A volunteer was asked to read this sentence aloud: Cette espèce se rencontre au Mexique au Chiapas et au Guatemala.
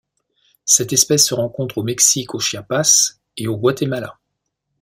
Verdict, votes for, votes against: accepted, 2, 0